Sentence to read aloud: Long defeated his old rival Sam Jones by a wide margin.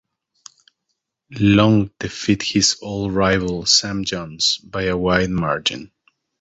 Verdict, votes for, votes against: accepted, 2, 1